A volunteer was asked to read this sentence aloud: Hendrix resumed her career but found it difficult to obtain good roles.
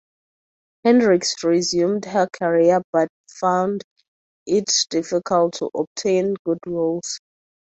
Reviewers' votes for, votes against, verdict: 0, 2, rejected